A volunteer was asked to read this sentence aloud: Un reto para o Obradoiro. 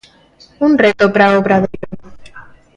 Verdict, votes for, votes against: rejected, 0, 2